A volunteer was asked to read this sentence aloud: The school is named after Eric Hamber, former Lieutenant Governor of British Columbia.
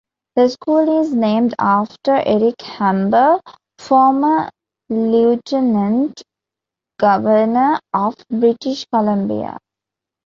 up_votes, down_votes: 2, 0